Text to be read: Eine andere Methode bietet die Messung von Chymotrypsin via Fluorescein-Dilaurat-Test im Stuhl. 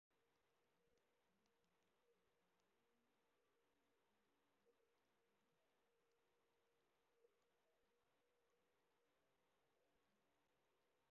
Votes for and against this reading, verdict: 0, 2, rejected